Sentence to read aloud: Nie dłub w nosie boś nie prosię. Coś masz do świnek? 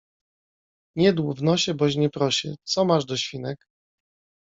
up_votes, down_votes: 2, 1